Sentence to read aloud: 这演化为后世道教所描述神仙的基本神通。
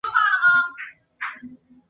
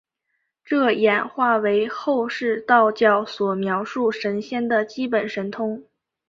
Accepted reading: second